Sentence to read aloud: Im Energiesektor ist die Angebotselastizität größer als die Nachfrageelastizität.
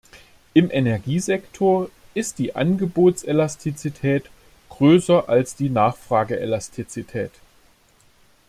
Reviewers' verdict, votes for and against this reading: accepted, 2, 0